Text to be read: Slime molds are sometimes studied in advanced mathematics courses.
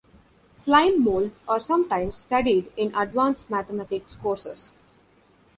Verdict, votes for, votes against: accepted, 2, 0